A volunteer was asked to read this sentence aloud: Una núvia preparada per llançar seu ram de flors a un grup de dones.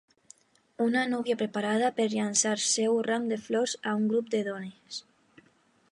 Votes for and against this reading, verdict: 3, 0, accepted